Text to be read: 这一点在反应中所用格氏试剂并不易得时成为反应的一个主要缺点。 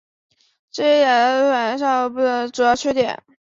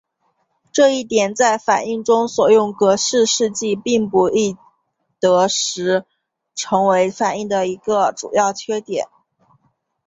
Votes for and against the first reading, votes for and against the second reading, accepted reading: 1, 2, 4, 0, second